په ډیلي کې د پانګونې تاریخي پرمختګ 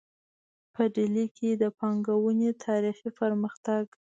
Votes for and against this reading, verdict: 2, 0, accepted